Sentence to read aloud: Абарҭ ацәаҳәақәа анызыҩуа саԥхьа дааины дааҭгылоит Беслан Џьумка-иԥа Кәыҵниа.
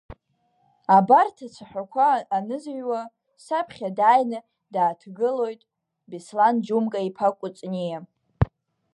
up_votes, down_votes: 2, 1